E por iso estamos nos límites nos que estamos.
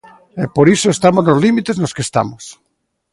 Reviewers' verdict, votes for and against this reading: rejected, 0, 2